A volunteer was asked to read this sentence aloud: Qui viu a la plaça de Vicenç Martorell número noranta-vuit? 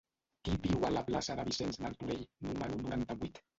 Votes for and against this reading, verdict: 0, 2, rejected